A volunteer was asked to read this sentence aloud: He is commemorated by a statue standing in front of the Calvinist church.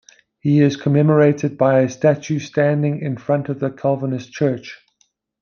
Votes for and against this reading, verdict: 2, 0, accepted